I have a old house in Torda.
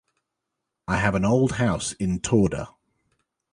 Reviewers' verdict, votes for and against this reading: rejected, 1, 2